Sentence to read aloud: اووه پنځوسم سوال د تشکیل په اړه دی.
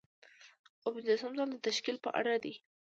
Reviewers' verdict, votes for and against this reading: rejected, 1, 2